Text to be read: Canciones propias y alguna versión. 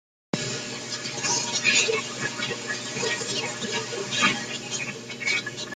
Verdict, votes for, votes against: rejected, 0, 2